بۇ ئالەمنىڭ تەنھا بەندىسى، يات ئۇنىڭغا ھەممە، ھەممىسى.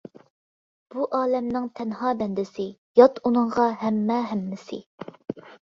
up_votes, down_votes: 2, 0